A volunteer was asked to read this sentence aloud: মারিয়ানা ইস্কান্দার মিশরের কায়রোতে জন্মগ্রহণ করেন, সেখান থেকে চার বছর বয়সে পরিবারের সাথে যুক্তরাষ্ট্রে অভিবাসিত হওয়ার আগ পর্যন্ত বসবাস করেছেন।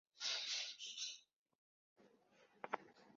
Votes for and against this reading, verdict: 0, 2, rejected